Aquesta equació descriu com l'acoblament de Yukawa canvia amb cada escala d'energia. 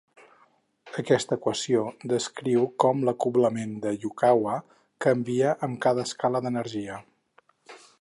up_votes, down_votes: 4, 0